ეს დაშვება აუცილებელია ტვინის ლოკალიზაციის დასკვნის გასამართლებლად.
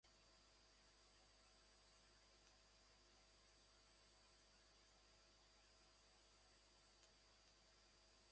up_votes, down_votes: 0, 2